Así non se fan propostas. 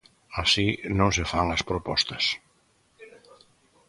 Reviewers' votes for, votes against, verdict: 0, 2, rejected